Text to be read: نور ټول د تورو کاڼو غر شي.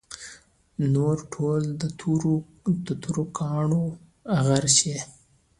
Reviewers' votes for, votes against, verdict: 2, 0, accepted